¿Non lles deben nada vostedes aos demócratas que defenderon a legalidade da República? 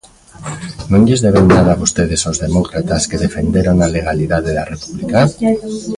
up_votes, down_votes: 2, 1